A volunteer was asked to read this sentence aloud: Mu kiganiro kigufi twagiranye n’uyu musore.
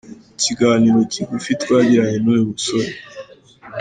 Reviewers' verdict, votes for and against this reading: accepted, 2, 0